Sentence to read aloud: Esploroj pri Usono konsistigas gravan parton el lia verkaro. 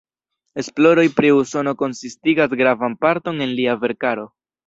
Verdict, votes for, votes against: accepted, 2, 0